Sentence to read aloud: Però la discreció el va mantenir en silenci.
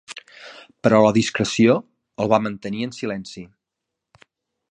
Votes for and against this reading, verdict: 2, 0, accepted